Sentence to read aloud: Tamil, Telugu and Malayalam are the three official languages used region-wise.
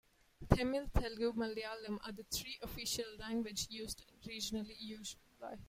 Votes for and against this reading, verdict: 0, 2, rejected